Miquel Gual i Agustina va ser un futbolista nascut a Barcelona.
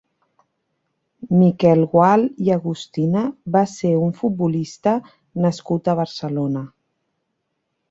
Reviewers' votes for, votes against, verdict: 4, 0, accepted